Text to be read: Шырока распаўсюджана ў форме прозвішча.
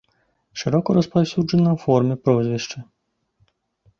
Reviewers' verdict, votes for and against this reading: accepted, 2, 0